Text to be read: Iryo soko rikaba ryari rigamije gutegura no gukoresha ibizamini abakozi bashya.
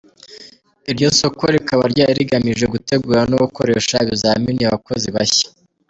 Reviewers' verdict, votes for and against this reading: rejected, 0, 2